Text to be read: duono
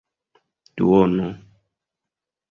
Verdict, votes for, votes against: accepted, 2, 0